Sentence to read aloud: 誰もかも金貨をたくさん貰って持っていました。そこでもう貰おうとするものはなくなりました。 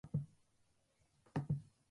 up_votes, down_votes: 0, 2